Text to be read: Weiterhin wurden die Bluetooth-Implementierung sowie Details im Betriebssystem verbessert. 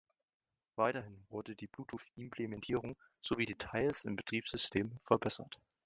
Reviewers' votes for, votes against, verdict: 0, 2, rejected